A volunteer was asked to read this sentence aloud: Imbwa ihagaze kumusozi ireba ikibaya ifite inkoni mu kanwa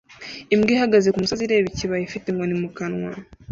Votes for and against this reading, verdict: 2, 0, accepted